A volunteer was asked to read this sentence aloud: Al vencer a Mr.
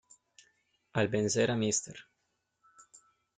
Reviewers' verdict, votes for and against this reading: rejected, 1, 2